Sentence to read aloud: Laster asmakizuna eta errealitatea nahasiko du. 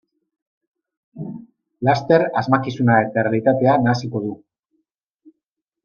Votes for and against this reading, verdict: 2, 1, accepted